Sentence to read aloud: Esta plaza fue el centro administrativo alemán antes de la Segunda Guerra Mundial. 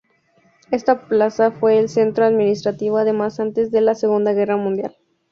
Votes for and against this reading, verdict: 2, 2, rejected